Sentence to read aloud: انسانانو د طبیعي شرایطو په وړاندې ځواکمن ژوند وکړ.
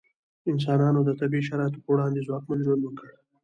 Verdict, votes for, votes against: accepted, 2, 0